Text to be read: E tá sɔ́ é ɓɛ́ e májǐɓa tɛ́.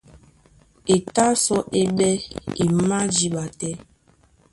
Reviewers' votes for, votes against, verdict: 2, 0, accepted